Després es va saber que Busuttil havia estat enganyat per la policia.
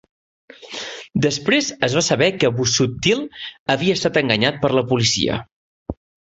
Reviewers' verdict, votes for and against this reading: accepted, 3, 0